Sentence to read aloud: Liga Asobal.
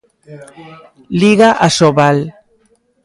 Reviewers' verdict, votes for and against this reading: accepted, 2, 1